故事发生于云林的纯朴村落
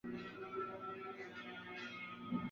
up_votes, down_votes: 0, 3